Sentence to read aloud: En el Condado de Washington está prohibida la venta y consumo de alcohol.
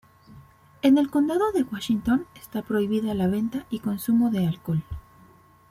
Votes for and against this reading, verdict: 2, 0, accepted